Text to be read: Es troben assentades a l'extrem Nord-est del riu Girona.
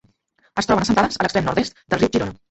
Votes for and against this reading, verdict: 0, 2, rejected